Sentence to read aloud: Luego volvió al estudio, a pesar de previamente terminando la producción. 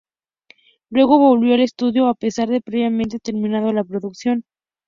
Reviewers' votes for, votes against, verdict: 2, 2, rejected